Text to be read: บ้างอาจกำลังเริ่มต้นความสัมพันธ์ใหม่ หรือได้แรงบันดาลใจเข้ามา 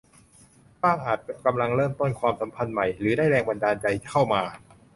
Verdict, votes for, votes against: rejected, 0, 2